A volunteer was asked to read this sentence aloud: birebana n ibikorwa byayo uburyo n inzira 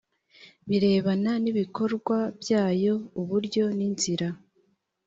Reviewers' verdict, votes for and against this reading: accepted, 2, 0